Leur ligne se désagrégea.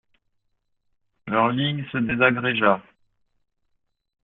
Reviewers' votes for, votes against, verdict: 2, 0, accepted